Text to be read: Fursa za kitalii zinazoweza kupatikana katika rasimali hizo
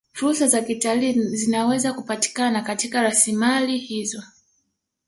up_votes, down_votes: 1, 2